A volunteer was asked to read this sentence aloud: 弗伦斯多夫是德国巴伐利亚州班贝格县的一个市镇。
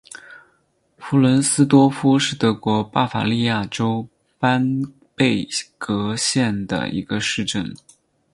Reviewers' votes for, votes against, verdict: 4, 0, accepted